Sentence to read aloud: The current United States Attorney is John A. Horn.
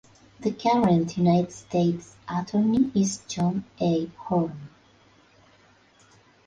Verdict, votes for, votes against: accepted, 3, 0